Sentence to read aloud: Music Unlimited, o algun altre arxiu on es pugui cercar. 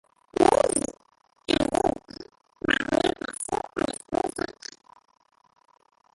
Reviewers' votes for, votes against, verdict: 0, 2, rejected